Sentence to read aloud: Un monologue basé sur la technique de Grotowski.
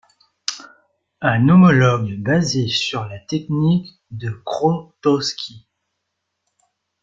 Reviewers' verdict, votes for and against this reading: rejected, 0, 2